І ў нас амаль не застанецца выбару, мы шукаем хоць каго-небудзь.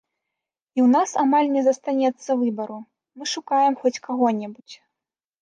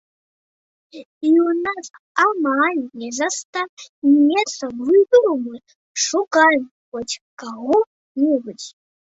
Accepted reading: first